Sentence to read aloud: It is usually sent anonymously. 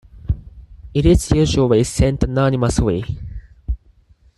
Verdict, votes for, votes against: accepted, 4, 0